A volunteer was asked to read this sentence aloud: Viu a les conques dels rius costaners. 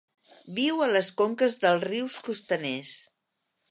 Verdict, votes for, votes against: accepted, 2, 0